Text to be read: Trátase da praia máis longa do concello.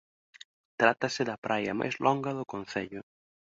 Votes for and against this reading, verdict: 2, 1, accepted